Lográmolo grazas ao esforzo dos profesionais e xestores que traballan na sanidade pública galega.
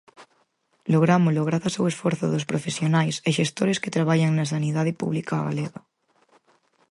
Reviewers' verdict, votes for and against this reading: accepted, 4, 0